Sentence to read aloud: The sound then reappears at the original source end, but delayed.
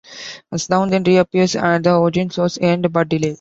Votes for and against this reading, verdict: 1, 2, rejected